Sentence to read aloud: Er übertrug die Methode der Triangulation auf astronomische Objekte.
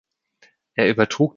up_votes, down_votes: 0, 2